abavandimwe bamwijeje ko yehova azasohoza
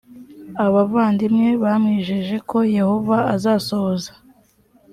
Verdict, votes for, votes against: accepted, 2, 0